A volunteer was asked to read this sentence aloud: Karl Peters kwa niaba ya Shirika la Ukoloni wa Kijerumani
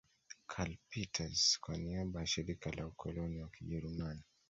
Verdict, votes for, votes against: rejected, 1, 2